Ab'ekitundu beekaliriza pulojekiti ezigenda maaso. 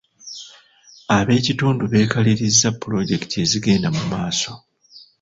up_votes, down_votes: 1, 2